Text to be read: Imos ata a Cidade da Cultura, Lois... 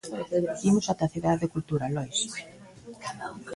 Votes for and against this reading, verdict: 1, 2, rejected